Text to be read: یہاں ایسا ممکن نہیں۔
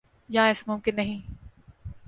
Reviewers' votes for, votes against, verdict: 2, 0, accepted